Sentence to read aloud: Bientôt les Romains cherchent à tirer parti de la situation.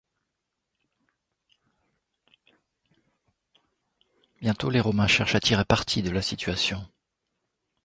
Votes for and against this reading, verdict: 2, 0, accepted